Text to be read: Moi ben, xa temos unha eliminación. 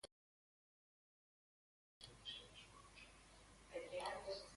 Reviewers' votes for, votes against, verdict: 1, 2, rejected